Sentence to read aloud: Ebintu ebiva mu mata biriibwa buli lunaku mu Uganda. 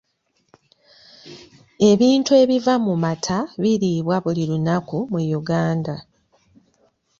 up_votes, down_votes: 2, 3